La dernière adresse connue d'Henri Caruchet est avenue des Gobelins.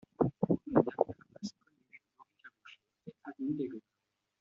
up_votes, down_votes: 0, 2